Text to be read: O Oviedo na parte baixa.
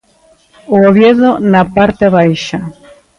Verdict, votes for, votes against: rejected, 1, 2